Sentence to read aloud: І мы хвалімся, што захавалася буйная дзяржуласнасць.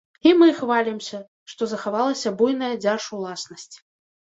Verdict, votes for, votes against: rejected, 0, 2